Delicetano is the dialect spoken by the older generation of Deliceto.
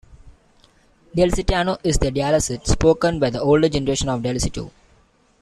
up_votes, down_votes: 1, 2